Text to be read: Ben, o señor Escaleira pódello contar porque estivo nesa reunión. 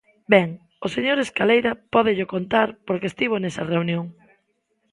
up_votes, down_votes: 2, 0